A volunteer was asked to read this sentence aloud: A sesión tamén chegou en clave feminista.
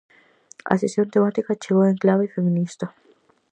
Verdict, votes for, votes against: rejected, 0, 4